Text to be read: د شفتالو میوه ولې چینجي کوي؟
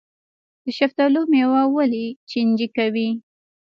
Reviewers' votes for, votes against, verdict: 2, 0, accepted